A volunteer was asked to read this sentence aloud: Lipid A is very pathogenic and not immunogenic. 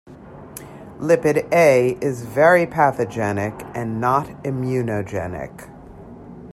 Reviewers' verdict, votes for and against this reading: accepted, 2, 0